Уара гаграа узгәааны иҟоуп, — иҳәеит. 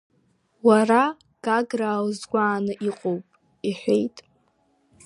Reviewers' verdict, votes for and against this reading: accepted, 3, 0